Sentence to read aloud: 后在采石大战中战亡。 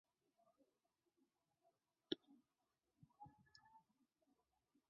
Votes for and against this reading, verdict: 2, 3, rejected